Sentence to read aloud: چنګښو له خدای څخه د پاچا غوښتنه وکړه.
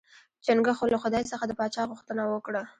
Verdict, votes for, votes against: rejected, 0, 2